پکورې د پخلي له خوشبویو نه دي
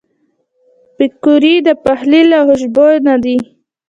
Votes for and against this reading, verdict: 0, 2, rejected